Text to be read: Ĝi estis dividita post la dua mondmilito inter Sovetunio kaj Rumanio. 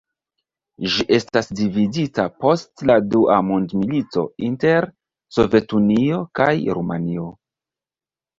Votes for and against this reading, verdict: 1, 2, rejected